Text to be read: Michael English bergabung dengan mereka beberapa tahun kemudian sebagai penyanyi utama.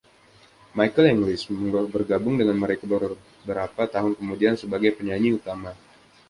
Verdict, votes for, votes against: rejected, 0, 2